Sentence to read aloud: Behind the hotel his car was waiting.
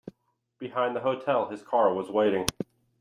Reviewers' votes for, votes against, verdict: 2, 0, accepted